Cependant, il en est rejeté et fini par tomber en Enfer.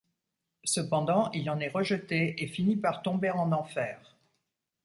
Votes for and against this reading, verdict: 2, 0, accepted